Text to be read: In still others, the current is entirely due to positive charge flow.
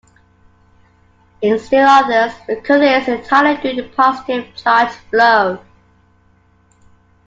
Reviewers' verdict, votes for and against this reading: rejected, 0, 3